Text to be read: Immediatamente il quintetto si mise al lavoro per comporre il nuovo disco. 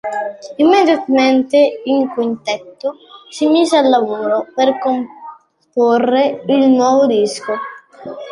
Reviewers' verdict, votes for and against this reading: rejected, 1, 2